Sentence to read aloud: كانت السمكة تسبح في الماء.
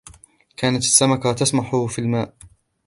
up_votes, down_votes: 1, 2